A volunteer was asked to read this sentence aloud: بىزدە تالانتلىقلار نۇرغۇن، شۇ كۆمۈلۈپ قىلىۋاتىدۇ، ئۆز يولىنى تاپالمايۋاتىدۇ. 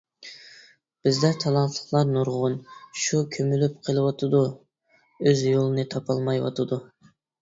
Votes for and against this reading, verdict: 2, 0, accepted